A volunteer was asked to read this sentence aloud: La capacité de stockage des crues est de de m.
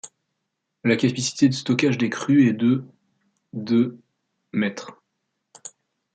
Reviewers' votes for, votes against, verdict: 0, 2, rejected